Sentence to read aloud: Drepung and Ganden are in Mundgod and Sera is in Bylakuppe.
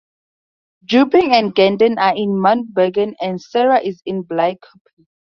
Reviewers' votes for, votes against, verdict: 2, 2, rejected